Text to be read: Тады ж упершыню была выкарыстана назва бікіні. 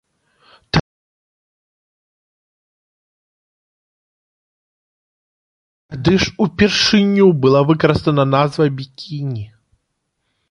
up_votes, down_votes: 0, 2